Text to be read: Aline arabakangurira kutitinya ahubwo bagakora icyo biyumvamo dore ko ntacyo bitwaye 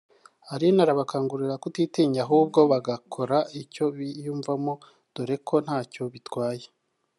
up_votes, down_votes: 1, 2